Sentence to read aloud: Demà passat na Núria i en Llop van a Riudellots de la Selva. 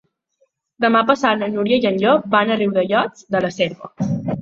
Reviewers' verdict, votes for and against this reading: accepted, 3, 0